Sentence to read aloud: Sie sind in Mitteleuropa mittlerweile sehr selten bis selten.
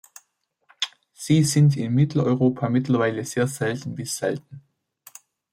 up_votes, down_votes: 2, 0